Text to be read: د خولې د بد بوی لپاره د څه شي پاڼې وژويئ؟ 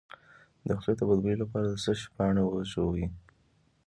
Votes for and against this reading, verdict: 2, 0, accepted